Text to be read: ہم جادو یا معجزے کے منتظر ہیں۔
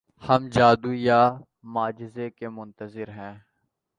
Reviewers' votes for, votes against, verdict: 2, 0, accepted